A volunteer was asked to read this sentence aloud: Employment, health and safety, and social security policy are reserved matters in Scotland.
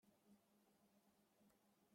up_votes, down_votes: 0, 2